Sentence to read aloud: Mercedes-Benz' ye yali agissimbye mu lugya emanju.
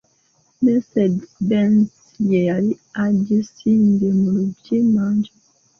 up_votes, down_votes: 0, 2